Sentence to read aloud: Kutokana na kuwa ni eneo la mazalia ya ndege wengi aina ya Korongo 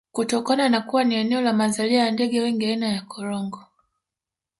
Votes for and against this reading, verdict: 2, 1, accepted